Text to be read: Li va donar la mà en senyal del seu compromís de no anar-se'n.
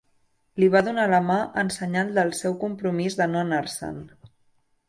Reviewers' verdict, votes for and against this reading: accepted, 2, 0